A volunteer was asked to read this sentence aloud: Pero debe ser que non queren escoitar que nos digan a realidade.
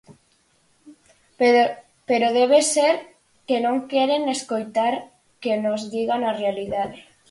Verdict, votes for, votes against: rejected, 2, 4